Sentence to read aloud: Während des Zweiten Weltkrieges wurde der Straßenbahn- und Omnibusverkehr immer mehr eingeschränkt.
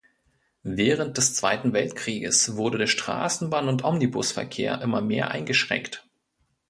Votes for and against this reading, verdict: 2, 0, accepted